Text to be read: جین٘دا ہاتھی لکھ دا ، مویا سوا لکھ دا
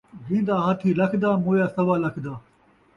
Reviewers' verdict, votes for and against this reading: accepted, 2, 0